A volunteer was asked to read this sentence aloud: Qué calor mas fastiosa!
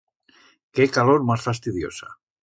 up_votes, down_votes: 1, 2